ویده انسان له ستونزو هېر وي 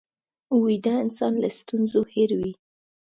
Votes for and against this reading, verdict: 2, 0, accepted